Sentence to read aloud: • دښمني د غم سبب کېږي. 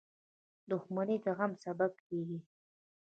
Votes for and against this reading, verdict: 2, 1, accepted